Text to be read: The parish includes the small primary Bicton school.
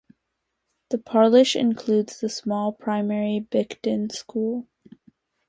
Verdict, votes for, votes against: accepted, 2, 0